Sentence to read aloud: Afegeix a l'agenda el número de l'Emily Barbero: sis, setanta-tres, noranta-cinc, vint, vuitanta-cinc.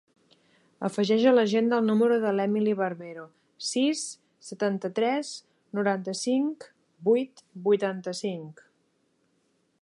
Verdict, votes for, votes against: rejected, 1, 2